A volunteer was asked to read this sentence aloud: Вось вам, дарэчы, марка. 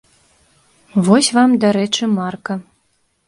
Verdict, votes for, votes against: accepted, 2, 0